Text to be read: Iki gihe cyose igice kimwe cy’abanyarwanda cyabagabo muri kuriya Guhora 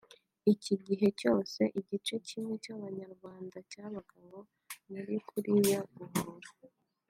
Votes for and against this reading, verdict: 2, 1, accepted